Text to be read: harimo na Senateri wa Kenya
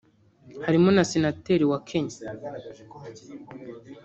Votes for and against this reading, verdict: 2, 0, accepted